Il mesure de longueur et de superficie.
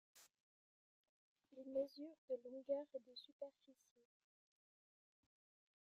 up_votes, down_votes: 1, 2